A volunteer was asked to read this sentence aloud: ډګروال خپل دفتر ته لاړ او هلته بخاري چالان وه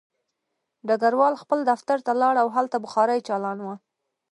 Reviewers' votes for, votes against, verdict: 2, 0, accepted